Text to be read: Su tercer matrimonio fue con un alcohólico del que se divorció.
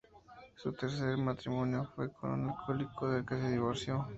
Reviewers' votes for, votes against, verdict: 2, 0, accepted